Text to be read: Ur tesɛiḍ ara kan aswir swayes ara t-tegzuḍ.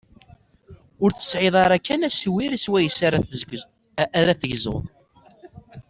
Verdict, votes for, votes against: rejected, 1, 2